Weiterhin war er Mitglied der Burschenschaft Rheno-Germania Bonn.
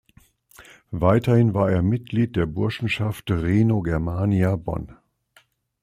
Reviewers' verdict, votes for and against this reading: accepted, 3, 0